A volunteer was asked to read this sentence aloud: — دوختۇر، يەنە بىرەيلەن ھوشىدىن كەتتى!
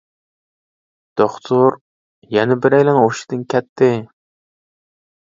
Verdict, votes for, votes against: rejected, 0, 2